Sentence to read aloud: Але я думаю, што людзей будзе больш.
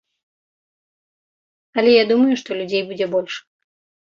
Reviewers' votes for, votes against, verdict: 2, 0, accepted